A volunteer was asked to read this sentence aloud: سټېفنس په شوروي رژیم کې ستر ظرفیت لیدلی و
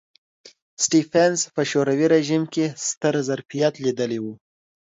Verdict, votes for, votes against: accepted, 2, 0